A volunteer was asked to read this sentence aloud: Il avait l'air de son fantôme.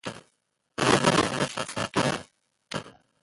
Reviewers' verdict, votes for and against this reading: rejected, 0, 2